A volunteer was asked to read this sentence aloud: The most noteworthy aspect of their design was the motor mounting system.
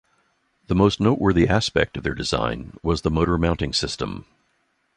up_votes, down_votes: 2, 0